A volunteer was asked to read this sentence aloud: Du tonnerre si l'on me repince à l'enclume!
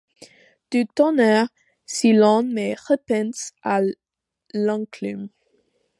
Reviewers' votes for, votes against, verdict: 1, 2, rejected